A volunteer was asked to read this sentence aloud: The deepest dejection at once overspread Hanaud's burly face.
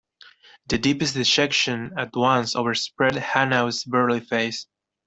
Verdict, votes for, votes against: rejected, 1, 2